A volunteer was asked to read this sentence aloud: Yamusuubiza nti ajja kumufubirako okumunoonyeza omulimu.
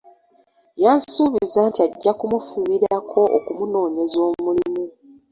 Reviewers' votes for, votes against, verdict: 1, 2, rejected